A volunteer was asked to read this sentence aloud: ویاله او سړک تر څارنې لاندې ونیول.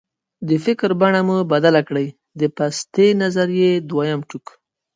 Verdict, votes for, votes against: rejected, 0, 2